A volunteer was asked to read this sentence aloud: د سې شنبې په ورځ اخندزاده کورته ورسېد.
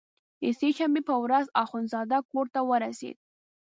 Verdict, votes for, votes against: accepted, 2, 0